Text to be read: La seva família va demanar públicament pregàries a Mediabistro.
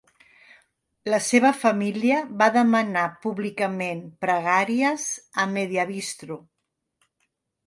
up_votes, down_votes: 2, 0